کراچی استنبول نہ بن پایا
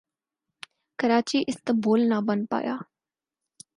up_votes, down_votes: 4, 0